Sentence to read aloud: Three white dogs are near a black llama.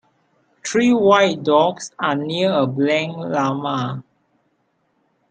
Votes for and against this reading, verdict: 2, 1, accepted